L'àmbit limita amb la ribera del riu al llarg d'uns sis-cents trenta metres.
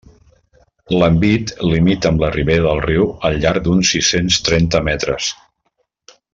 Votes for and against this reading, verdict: 1, 2, rejected